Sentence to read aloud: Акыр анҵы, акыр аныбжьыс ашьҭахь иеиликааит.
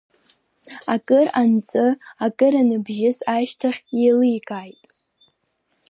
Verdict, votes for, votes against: accepted, 2, 0